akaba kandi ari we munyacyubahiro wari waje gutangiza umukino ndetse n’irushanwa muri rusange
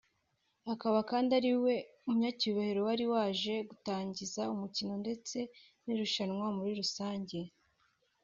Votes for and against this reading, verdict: 0, 2, rejected